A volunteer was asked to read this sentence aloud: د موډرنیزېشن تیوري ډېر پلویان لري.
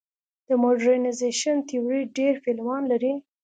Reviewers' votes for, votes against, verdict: 2, 0, accepted